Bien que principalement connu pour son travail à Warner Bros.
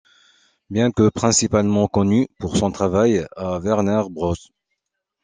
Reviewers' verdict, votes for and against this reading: accepted, 2, 1